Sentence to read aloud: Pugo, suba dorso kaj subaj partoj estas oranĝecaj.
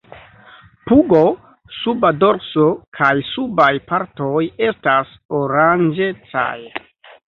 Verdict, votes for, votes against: accepted, 2, 0